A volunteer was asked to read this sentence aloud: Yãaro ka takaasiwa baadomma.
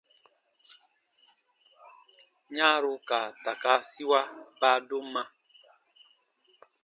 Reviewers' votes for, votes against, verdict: 2, 0, accepted